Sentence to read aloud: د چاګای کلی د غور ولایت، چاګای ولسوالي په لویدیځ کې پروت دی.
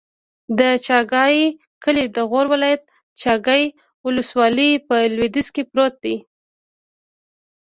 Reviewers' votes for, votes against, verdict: 2, 0, accepted